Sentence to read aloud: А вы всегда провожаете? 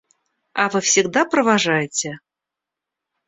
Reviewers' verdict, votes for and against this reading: rejected, 0, 2